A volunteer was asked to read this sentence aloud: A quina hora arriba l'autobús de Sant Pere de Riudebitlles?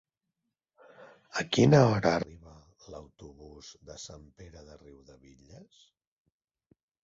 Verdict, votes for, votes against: rejected, 0, 2